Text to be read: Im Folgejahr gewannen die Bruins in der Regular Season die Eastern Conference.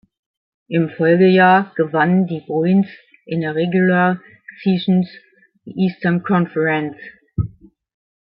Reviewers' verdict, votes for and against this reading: rejected, 0, 2